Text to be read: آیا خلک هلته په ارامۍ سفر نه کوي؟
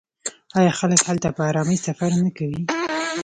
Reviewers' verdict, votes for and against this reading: accepted, 2, 0